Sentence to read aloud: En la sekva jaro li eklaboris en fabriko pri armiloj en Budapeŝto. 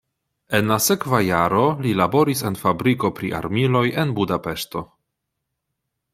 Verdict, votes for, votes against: rejected, 0, 2